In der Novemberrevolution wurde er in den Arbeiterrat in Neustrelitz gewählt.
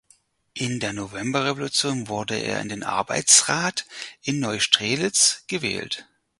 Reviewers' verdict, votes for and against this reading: rejected, 0, 4